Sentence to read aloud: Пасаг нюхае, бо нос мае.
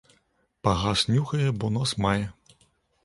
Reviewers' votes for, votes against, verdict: 0, 2, rejected